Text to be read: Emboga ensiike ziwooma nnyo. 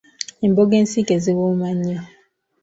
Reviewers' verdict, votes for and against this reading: accepted, 2, 0